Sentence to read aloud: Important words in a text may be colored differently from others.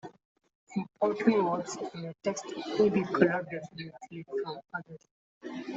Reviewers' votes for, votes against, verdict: 0, 2, rejected